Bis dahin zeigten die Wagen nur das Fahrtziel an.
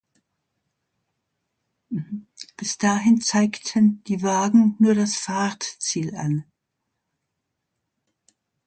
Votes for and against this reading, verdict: 2, 0, accepted